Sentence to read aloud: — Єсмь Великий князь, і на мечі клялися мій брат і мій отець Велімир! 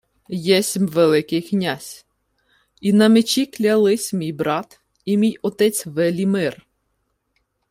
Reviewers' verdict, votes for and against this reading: accepted, 2, 0